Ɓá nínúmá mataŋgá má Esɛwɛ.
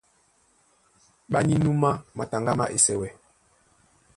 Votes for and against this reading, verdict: 2, 0, accepted